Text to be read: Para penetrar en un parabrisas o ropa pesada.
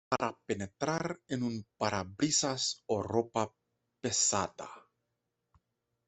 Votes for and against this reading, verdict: 0, 2, rejected